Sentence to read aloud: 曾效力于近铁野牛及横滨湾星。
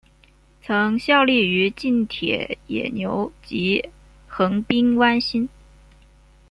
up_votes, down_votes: 1, 2